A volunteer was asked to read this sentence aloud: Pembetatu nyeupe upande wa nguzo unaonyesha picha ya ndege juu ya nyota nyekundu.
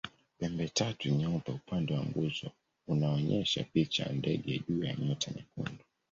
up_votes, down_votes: 2, 0